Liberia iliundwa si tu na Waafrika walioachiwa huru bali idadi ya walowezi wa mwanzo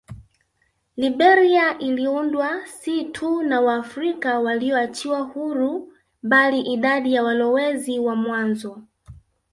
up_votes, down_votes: 2, 0